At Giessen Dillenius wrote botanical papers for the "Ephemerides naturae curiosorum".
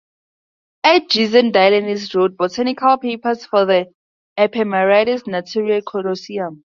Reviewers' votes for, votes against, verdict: 0, 2, rejected